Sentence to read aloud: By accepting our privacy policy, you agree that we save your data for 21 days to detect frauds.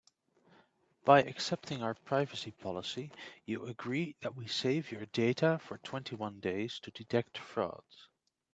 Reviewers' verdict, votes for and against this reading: rejected, 0, 2